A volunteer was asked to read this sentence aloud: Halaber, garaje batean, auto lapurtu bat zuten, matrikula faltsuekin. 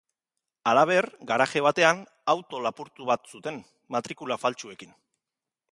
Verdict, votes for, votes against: accepted, 2, 0